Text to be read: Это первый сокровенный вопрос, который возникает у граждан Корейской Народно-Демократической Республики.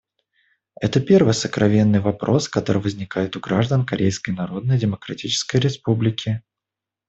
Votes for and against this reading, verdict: 2, 0, accepted